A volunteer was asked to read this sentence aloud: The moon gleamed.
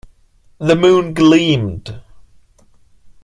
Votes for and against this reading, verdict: 2, 0, accepted